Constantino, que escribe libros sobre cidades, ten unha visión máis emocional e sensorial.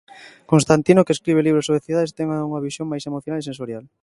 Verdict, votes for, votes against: rejected, 0, 2